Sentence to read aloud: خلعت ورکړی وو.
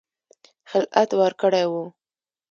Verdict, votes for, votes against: rejected, 1, 2